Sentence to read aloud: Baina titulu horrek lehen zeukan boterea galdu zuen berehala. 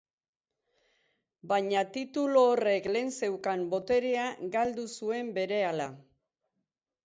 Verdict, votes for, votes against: rejected, 2, 4